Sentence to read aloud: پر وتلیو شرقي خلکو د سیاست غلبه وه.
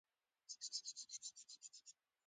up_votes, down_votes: 1, 2